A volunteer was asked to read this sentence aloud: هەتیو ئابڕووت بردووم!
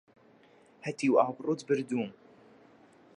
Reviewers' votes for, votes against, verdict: 2, 0, accepted